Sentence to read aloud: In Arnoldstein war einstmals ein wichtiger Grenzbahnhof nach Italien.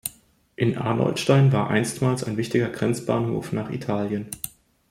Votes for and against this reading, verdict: 2, 0, accepted